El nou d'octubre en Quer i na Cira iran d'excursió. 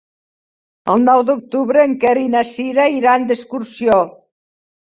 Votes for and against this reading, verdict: 2, 0, accepted